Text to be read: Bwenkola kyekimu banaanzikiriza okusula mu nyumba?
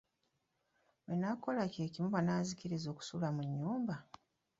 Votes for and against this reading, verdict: 0, 2, rejected